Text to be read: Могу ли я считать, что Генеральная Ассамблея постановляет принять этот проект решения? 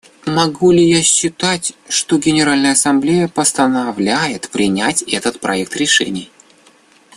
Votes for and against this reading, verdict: 0, 2, rejected